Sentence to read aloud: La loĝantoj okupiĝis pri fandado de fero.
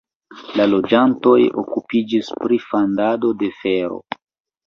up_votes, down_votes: 2, 0